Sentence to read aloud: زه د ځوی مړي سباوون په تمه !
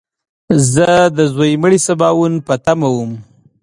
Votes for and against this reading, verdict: 0, 2, rejected